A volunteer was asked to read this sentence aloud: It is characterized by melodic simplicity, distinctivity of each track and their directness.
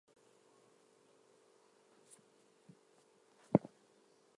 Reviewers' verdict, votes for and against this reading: rejected, 0, 2